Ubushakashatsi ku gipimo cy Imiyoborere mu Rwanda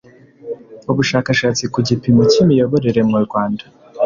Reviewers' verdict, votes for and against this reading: accepted, 2, 0